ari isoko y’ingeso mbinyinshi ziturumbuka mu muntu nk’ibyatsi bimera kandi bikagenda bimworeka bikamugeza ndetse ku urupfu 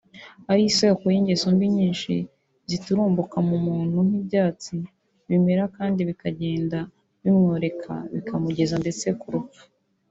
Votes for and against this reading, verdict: 0, 2, rejected